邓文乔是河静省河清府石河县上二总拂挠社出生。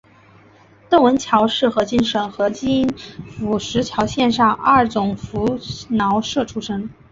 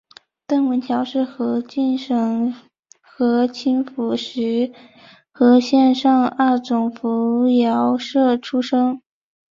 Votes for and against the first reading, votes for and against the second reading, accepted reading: 0, 3, 7, 0, second